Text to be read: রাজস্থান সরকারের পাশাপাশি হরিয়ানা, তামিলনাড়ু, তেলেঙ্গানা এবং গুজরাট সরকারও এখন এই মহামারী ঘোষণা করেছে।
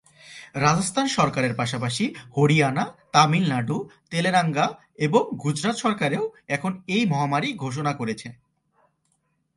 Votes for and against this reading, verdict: 0, 2, rejected